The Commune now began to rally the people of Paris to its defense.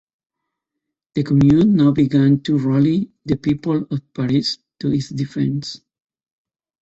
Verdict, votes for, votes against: accepted, 2, 0